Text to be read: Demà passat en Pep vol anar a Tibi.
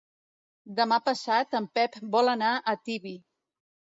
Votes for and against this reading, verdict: 2, 0, accepted